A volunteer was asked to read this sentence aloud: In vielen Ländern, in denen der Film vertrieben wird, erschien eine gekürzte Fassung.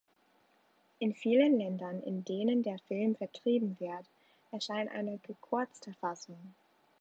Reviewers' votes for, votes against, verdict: 0, 2, rejected